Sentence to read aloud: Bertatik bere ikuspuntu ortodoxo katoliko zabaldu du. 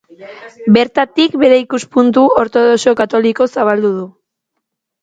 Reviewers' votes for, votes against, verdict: 1, 2, rejected